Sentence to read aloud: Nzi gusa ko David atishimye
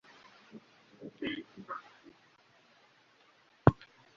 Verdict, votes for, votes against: rejected, 1, 2